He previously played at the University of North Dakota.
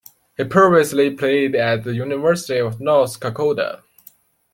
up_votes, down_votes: 2, 1